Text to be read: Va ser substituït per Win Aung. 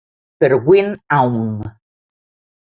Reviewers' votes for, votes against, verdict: 0, 2, rejected